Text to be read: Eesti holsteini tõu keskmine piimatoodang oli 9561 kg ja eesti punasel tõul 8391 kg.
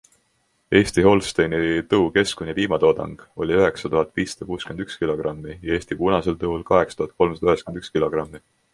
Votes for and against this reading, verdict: 0, 2, rejected